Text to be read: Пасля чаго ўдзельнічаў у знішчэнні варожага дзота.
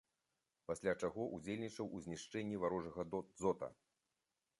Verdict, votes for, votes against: accepted, 2, 1